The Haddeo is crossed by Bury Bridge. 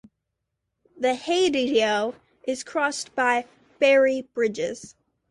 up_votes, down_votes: 0, 2